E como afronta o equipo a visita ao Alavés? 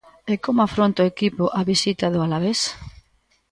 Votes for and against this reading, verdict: 0, 2, rejected